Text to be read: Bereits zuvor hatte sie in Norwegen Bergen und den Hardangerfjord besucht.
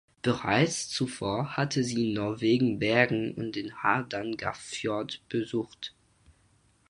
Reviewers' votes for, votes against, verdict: 0, 4, rejected